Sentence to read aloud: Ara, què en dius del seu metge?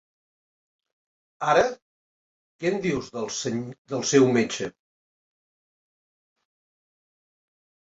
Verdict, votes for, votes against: rejected, 0, 2